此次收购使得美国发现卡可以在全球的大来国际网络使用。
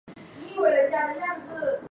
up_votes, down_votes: 0, 2